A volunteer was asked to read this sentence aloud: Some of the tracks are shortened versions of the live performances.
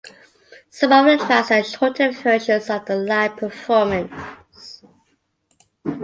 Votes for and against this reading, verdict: 2, 0, accepted